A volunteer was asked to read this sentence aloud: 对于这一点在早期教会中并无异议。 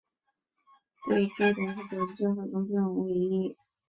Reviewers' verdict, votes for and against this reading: rejected, 0, 2